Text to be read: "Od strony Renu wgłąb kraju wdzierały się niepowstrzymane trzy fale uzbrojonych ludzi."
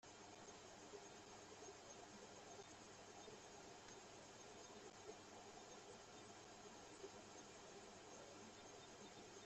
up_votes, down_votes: 0, 2